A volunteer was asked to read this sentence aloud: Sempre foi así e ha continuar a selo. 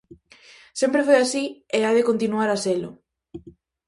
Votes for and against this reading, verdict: 0, 2, rejected